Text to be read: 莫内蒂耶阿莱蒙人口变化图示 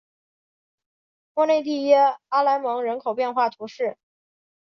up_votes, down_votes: 2, 0